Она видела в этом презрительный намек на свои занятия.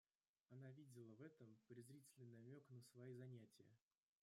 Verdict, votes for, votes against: rejected, 1, 2